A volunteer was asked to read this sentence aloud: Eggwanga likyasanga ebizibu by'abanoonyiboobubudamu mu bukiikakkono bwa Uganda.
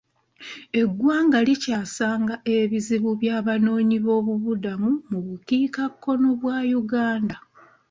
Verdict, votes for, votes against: rejected, 1, 2